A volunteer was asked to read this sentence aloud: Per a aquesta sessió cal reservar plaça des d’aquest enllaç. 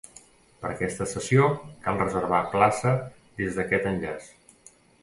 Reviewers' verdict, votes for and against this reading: rejected, 0, 2